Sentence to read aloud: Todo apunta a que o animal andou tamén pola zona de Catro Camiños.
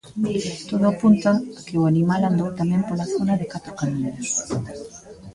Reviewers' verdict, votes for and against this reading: rejected, 1, 2